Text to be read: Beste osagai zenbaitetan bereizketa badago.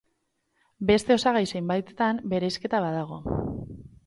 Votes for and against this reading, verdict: 2, 0, accepted